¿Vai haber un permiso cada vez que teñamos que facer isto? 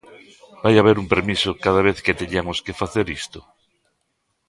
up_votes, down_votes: 0, 2